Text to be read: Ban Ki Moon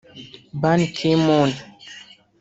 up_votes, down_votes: 1, 2